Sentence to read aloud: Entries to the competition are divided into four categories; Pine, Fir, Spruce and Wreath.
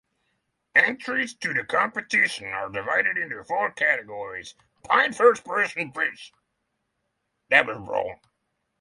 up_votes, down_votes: 0, 3